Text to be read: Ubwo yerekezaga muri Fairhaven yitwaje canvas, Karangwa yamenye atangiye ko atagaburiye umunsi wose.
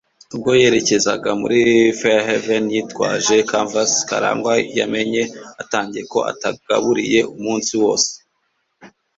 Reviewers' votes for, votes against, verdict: 2, 0, accepted